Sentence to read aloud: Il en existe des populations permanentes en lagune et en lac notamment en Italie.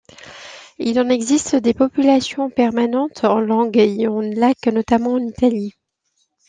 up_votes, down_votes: 1, 2